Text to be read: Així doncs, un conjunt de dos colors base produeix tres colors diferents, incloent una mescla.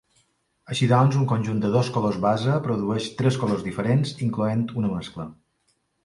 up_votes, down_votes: 2, 0